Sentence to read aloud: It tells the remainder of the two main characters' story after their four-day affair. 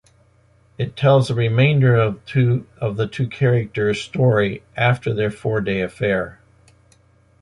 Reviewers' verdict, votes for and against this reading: rejected, 0, 2